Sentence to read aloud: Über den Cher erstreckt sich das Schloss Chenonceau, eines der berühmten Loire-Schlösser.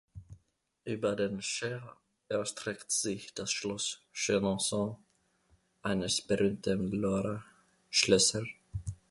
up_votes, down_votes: 0, 2